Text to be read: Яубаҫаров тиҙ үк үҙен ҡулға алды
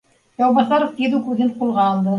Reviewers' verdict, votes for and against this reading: accepted, 2, 1